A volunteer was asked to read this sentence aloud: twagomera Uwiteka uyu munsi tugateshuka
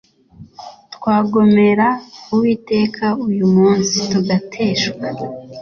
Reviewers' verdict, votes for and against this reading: accepted, 2, 0